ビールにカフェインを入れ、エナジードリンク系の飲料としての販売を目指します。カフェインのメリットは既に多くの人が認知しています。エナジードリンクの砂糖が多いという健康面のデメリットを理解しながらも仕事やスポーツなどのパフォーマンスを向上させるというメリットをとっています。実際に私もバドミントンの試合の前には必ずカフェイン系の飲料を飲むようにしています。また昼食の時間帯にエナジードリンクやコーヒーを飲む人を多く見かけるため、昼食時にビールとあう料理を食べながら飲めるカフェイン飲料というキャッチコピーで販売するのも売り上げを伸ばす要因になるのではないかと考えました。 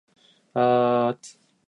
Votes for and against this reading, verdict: 0, 2, rejected